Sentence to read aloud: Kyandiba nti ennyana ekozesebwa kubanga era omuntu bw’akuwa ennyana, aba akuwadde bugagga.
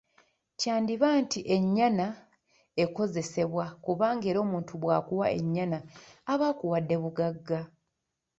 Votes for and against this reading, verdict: 1, 2, rejected